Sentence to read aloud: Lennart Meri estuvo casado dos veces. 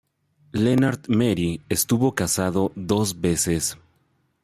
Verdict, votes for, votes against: rejected, 0, 2